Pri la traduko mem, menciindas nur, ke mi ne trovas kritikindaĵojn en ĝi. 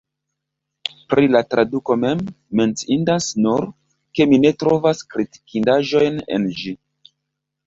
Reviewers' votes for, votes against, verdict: 2, 0, accepted